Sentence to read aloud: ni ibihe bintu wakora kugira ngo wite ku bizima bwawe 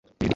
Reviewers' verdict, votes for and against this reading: rejected, 0, 2